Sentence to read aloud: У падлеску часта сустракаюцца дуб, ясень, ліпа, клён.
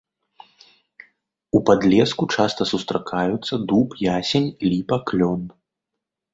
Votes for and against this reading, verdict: 2, 0, accepted